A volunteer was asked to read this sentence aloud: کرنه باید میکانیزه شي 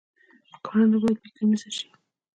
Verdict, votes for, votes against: rejected, 1, 2